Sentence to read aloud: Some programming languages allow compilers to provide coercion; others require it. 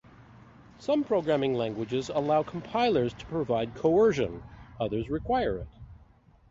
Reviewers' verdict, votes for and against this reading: accepted, 2, 0